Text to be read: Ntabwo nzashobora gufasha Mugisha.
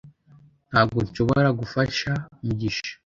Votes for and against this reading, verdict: 0, 2, rejected